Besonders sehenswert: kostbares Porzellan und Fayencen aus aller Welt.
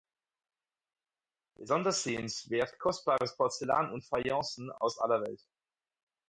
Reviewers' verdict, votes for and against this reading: accepted, 4, 0